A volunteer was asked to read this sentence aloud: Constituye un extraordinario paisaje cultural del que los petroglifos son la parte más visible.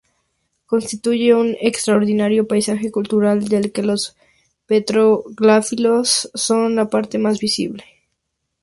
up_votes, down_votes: 0, 2